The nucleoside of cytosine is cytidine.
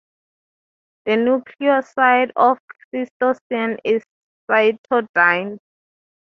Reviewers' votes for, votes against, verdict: 0, 3, rejected